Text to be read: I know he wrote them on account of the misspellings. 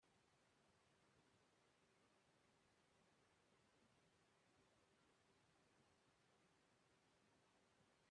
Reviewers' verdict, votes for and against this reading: rejected, 0, 2